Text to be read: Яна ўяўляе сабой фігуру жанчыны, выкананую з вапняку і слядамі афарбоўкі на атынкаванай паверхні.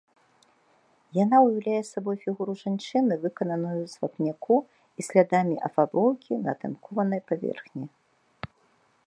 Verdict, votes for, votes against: rejected, 0, 2